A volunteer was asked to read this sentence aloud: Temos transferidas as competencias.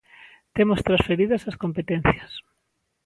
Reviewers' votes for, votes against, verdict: 2, 0, accepted